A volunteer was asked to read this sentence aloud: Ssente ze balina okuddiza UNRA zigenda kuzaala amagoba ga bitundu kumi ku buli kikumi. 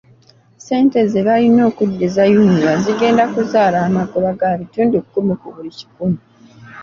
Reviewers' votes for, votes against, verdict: 2, 1, accepted